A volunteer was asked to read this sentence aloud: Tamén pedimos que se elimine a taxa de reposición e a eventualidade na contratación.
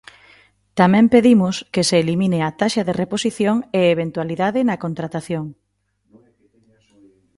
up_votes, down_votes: 2, 0